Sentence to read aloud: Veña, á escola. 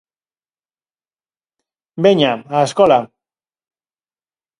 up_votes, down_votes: 4, 0